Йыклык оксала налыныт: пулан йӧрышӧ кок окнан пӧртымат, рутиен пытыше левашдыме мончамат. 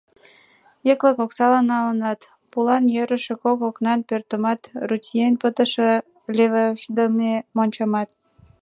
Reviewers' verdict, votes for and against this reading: rejected, 2, 3